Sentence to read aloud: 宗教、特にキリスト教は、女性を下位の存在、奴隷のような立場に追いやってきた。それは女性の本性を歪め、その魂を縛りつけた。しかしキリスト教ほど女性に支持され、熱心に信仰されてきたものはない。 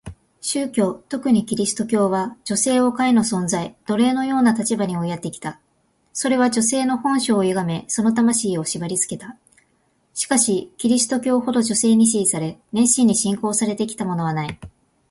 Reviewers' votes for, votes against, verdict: 2, 0, accepted